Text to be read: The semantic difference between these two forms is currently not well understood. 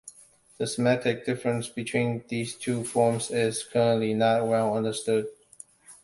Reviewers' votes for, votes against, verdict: 2, 0, accepted